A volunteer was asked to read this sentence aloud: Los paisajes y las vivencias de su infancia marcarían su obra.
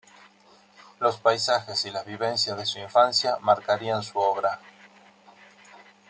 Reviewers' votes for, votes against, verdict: 1, 2, rejected